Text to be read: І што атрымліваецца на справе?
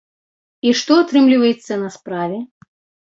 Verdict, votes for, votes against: accepted, 2, 0